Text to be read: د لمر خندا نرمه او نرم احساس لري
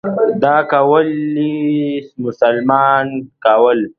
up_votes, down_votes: 1, 2